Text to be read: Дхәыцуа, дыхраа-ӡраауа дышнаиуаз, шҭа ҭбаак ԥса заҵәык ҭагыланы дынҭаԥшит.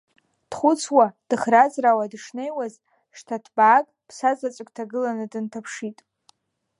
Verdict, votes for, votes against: accepted, 2, 0